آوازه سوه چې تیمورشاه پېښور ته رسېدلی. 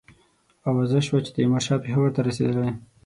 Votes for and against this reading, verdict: 6, 0, accepted